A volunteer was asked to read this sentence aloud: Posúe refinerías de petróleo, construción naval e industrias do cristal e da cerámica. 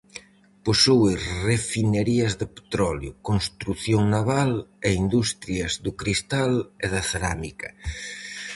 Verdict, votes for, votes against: accepted, 4, 0